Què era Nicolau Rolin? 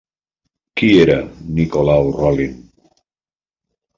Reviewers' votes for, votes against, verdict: 1, 2, rejected